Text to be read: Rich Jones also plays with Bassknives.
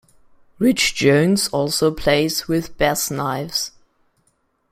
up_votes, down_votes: 2, 1